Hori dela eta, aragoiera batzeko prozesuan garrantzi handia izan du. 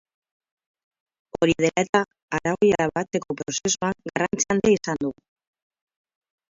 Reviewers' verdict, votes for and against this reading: rejected, 4, 6